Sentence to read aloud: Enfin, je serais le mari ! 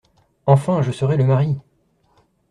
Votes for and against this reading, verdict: 2, 0, accepted